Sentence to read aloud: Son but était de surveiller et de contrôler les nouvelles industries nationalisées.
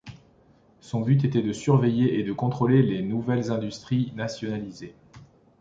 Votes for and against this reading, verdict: 2, 0, accepted